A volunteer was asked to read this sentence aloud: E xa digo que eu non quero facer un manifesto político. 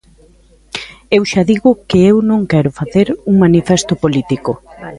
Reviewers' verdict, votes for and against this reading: rejected, 0, 2